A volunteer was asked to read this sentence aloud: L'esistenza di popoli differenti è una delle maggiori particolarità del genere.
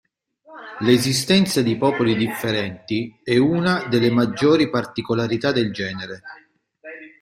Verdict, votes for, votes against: rejected, 1, 2